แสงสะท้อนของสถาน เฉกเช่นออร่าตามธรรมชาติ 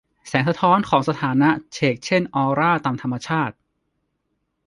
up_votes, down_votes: 0, 2